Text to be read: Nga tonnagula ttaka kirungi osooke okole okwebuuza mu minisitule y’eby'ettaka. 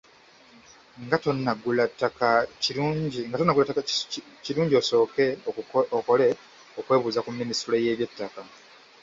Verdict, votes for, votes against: rejected, 0, 3